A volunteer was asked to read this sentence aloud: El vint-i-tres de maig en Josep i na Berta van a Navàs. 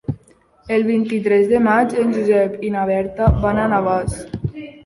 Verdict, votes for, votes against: accepted, 3, 1